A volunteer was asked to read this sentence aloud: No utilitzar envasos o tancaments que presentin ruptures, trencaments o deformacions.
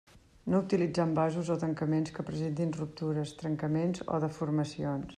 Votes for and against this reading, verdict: 2, 0, accepted